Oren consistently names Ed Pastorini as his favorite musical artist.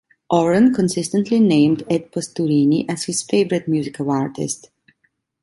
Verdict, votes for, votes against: accepted, 2, 1